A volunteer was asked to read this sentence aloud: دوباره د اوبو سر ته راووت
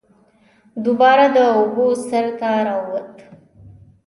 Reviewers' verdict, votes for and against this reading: accepted, 2, 0